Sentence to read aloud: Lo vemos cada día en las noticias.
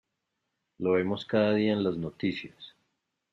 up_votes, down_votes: 2, 0